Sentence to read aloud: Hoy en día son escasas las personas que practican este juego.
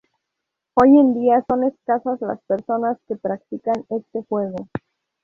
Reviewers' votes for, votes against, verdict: 2, 0, accepted